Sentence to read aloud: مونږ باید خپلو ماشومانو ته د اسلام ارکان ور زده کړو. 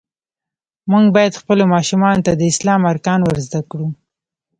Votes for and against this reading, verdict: 1, 2, rejected